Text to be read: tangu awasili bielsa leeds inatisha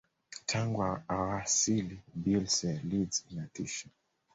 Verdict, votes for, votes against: accepted, 3, 1